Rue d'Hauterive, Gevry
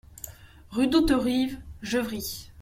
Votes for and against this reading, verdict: 2, 0, accepted